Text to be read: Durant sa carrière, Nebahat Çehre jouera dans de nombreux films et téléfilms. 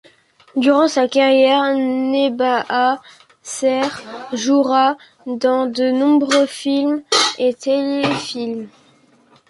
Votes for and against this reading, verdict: 1, 2, rejected